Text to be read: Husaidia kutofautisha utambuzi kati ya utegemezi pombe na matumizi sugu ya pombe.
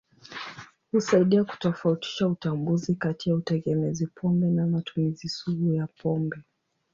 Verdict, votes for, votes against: rejected, 0, 2